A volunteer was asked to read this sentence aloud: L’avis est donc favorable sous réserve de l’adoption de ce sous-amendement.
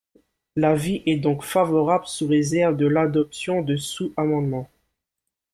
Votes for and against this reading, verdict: 1, 2, rejected